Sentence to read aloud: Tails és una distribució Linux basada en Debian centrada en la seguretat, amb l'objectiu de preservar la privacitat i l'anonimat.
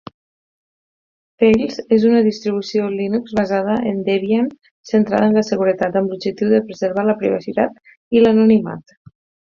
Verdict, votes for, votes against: accepted, 4, 0